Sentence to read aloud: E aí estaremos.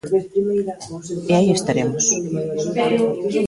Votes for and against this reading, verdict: 0, 2, rejected